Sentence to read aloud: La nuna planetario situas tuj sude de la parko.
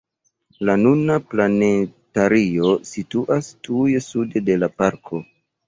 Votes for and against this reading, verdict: 2, 1, accepted